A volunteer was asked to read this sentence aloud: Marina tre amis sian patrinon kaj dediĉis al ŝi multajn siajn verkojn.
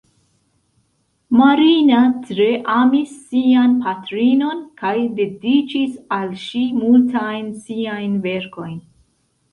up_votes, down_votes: 2, 0